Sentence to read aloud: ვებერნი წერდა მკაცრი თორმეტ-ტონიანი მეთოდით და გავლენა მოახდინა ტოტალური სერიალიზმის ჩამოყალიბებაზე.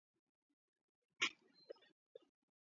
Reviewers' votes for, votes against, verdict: 0, 2, rejected